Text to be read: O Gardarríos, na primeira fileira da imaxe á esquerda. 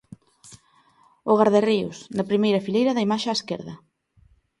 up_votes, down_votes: 2, 0